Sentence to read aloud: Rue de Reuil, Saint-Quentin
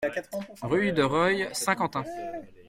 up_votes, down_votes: 2, 0